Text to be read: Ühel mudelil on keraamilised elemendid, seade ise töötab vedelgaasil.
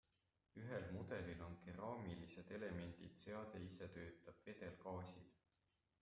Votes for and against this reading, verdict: 0, 2, rejected